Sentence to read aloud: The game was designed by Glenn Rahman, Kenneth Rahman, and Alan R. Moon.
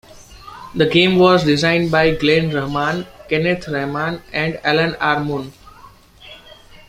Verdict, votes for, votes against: accepted, 2, 0